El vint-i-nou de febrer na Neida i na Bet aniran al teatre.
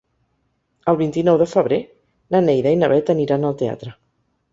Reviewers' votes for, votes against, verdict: 3, 0, accepted